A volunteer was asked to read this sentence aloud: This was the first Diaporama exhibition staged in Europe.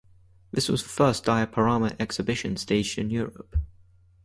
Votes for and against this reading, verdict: 4, 0, accepted